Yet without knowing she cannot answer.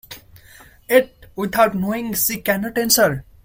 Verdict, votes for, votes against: rejected, 1, 2